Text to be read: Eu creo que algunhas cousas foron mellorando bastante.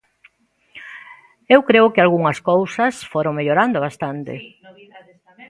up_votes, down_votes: 2, 1